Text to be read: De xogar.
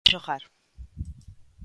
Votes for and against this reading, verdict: 0, 2, rejected